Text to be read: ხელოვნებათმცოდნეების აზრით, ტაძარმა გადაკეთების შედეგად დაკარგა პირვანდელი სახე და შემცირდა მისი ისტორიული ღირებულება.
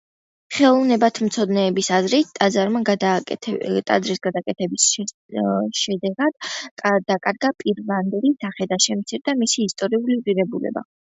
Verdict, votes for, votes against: rejected, 0, 2